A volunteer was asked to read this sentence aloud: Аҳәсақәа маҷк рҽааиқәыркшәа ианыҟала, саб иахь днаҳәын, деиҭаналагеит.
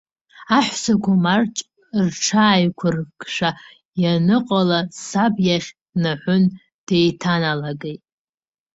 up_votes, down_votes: 1, 2